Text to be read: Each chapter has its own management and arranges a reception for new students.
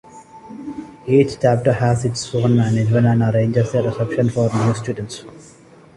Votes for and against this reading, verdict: 2, 0, accepted